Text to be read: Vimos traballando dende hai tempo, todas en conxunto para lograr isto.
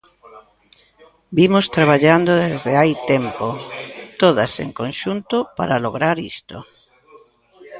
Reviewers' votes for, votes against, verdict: 0, 2, rejected